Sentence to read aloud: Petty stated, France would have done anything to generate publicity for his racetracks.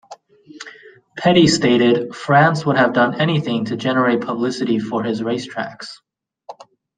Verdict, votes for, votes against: accepted, 2, 0